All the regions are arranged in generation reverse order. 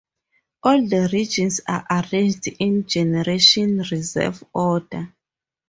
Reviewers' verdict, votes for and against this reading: rejected, 0, 4